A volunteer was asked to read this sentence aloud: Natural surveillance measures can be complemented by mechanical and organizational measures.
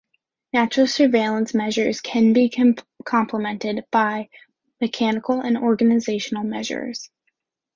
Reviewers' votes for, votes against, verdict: 2, 0, accepted